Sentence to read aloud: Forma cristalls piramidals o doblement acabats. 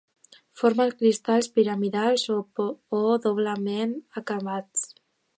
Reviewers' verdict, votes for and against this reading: rejected, 1, 2